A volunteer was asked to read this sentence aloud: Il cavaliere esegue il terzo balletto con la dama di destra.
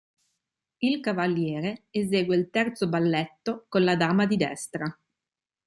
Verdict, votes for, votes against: accepted, 3, 0